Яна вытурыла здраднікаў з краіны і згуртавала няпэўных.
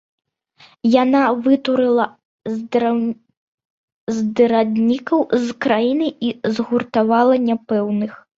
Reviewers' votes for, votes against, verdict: 0, 2, rejected